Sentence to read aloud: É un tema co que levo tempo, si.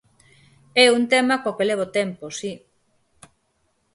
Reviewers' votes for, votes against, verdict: 4, 0, accepted